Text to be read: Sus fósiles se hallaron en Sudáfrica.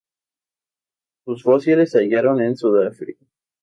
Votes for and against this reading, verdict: 2, 0, accepted